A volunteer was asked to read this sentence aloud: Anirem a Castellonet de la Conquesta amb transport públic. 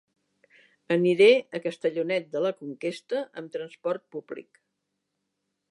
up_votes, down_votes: 0, 2